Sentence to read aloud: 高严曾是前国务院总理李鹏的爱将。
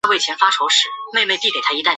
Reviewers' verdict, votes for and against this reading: rejected, 1, 5